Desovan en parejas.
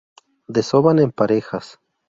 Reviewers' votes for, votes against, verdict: 2, 0, accepted